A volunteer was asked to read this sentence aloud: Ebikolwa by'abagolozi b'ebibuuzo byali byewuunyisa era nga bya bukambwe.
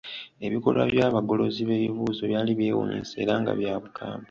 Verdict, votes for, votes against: accepted, 2, 0